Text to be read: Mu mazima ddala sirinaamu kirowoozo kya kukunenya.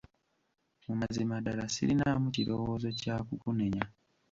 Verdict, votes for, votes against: rejected, 0, 2